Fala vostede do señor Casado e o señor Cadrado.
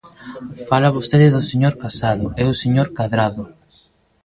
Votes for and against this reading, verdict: 1, 2, rejected